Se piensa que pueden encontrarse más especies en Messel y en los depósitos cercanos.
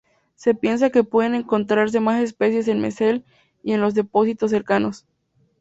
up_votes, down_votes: 4, 0